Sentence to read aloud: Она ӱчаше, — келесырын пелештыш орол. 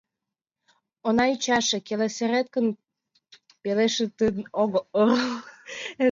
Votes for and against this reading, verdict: 0, 2, rejected